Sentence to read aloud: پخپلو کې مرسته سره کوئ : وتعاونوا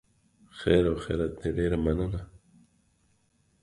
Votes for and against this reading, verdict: 0, 2, rejected